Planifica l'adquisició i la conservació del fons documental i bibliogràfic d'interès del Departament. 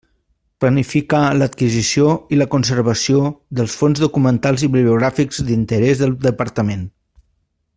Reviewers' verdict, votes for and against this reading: rejected, 0, 2